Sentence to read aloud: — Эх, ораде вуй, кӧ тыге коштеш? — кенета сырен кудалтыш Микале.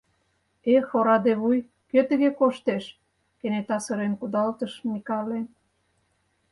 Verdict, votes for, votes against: accepted, 4, 0